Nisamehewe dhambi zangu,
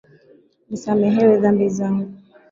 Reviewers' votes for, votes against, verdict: 2, 2, rejected